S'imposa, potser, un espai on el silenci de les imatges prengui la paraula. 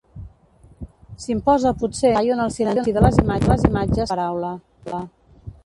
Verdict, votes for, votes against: rejected, 0, 2